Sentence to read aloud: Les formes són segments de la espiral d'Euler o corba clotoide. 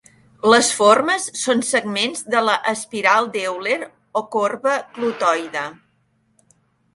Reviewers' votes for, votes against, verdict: 3, 1, accepted